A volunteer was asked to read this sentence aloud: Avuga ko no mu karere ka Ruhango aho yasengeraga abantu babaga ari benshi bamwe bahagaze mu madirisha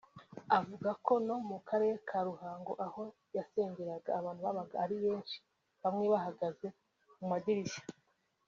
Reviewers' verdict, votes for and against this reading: rejected, 1, 2